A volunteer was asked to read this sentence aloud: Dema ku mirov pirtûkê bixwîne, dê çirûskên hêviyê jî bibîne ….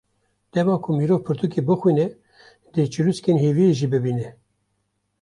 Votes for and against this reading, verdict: 1, 2, rejected